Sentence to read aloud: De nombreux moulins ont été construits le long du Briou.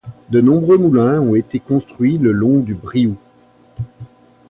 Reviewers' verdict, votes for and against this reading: rejected, 1, 2